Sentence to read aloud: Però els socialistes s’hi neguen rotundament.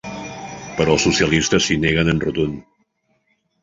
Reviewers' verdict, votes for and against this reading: rejected, 0, 2